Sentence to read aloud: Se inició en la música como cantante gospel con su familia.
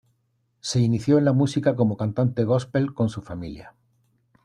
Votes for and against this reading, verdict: 2, 0, accepted